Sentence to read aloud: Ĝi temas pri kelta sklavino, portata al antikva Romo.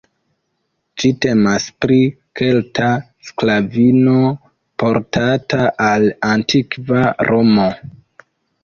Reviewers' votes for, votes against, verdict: 1, 2, rejected